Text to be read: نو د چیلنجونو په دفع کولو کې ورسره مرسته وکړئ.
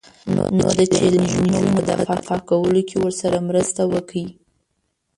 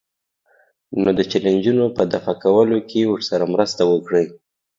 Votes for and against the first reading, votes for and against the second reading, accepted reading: 5, 6, 2, 0, second